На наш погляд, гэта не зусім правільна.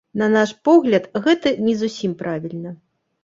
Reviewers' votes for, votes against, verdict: 2, 0, accepted